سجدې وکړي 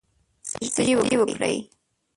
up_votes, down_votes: 0, 2